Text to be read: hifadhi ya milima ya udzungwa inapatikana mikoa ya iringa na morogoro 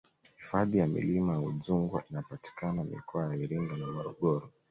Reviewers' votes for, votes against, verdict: 2, 0, accepted